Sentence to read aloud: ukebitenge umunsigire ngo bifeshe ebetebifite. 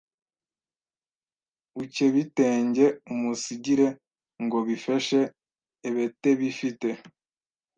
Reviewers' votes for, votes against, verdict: 1, 2, rejected